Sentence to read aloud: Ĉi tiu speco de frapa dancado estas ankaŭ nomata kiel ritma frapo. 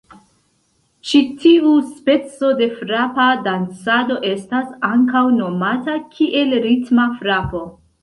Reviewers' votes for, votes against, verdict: 1, 2, rejected